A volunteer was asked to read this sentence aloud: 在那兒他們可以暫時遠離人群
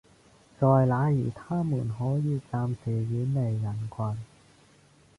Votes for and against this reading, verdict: 0, 2, rejected